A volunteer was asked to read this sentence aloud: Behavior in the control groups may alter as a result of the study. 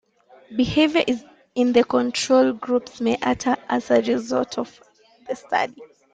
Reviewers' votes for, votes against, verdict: 0, 3, rejected